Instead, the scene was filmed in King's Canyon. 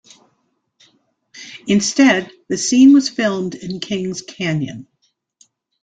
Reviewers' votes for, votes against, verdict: 2, 0, accepted